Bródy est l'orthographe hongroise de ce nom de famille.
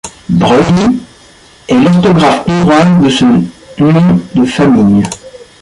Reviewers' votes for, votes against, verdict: 1, 2, rejected